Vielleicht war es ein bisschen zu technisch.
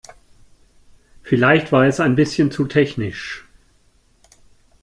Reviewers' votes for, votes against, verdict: 2, 0, accepted